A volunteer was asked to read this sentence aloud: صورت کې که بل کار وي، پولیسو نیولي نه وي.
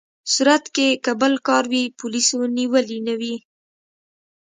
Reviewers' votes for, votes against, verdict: 2, 0, accepted